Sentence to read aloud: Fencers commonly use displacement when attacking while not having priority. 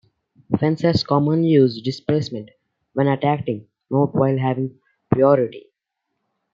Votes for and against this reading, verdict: 2, 0, accepted